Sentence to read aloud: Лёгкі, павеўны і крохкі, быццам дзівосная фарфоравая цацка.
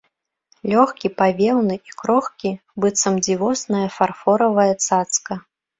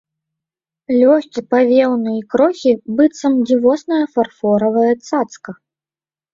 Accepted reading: first